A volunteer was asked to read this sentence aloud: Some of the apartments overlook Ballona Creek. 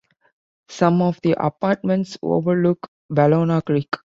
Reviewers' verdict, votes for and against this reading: accepted, 2, 0